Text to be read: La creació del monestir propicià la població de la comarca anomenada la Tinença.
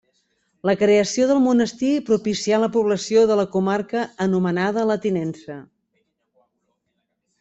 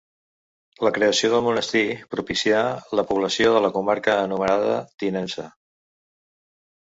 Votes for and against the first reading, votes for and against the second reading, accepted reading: 3, 0, 0, 2, first